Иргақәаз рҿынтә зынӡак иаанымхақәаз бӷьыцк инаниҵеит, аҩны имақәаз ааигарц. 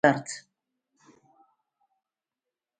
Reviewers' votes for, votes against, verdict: 1, 3, rejected